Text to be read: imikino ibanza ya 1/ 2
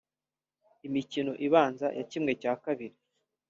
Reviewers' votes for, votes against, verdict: 0, 2, rejected